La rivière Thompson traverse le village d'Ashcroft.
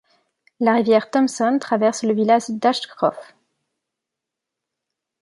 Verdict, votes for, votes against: accepted, 2, 0